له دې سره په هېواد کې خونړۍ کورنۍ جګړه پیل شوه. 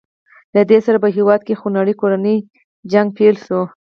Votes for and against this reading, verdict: 0, 4, rejected